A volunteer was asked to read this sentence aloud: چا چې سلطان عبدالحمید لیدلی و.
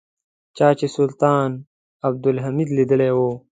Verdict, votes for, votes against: accepted, 2, 0